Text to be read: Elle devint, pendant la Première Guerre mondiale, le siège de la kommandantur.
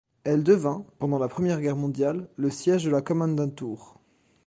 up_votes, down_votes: 2, 0